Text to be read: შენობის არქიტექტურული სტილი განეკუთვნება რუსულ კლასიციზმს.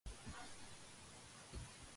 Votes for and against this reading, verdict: 0, 2, rejected